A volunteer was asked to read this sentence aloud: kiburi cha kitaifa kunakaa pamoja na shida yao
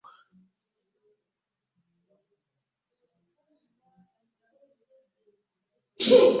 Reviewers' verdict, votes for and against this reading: rejected, 0, 2